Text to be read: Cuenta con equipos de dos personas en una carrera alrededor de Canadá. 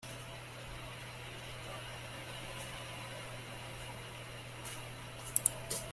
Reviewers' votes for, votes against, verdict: 0, 2, rejected